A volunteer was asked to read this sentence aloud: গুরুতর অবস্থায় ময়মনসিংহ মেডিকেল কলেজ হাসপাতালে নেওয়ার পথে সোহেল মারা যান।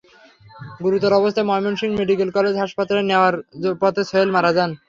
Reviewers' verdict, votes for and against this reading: accepted, 3, 0